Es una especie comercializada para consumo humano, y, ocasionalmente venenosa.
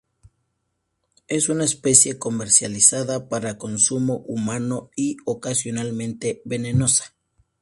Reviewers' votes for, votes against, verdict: 2, 0, accepted